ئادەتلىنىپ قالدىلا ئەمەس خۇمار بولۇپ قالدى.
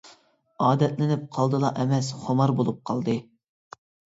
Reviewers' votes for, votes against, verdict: 2, 0, accepted